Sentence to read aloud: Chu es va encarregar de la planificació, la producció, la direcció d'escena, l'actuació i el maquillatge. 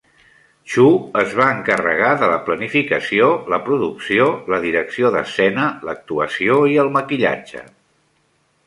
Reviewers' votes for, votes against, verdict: 3, 0, accepted